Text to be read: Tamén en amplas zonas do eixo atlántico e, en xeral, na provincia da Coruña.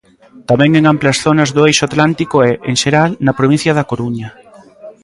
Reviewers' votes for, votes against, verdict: 2, 0, accepted